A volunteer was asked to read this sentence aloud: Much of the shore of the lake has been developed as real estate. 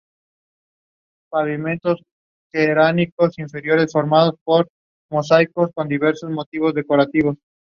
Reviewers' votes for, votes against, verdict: 0, 2, rejected